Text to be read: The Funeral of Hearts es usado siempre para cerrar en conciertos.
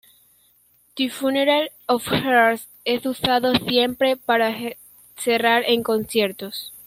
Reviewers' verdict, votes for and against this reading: rejected, 1, 2